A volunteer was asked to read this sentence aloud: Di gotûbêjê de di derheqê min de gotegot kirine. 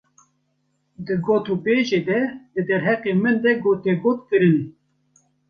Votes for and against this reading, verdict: 1, 2, rejected